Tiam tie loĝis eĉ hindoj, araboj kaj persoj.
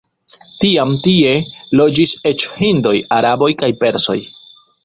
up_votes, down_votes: 1, 2